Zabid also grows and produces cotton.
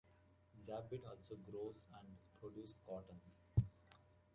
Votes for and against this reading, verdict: 1, 2, rejected